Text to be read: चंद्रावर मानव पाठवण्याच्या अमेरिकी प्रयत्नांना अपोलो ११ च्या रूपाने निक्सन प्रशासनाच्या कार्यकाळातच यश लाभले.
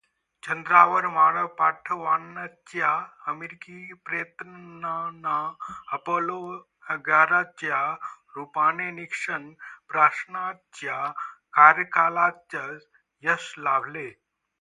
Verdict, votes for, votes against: rejected, 0, 2